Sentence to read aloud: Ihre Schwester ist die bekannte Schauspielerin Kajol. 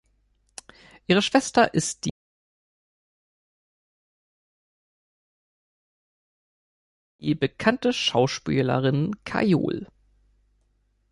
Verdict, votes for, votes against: rejected, 0, 2